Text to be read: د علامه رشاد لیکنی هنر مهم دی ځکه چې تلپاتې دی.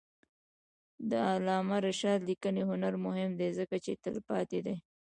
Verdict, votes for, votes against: rejected, 1, 2